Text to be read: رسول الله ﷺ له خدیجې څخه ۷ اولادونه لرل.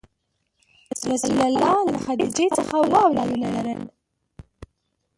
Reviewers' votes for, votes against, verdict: 0, 2, rejected